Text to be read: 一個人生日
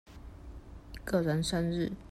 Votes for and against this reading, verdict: 1, 2, rejected